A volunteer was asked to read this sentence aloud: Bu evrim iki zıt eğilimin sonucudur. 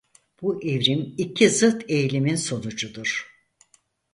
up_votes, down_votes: 4, 0